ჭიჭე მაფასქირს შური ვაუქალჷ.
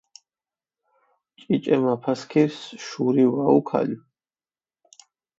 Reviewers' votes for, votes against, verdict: 4, 0, accepted